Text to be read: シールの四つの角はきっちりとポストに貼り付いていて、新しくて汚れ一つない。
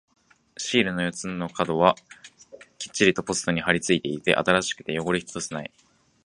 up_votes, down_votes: 2, 1